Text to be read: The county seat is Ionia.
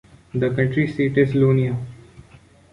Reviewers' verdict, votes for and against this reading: rejected, 1, 2